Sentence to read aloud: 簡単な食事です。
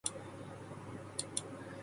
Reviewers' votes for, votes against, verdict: 0, 2, rejected